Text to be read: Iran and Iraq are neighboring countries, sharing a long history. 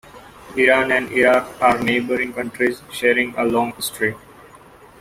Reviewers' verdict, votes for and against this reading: accepted, 2, 0